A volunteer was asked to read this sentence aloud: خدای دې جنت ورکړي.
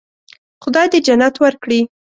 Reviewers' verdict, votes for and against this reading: accepted, 2, 0